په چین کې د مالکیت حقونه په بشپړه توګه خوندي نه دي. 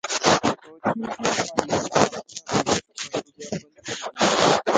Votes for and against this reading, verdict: 0, 2, rejected